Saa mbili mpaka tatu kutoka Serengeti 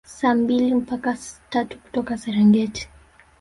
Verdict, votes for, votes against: rejected, 1, 2